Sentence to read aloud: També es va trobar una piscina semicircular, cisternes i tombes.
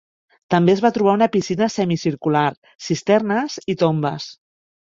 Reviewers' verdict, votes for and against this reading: accepted, 3, 0